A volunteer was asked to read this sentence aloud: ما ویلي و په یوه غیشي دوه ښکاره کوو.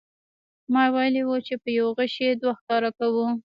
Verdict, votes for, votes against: rejected, 0, 2